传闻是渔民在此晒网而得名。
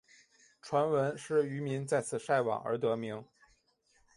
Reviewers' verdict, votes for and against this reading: accepted, 2, 1